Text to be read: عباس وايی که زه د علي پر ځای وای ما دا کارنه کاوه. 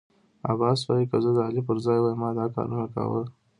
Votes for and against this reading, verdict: 2, 0, accepted